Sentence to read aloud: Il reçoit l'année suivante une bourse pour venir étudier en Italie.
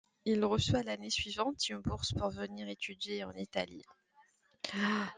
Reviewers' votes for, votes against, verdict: 2, 0, accepted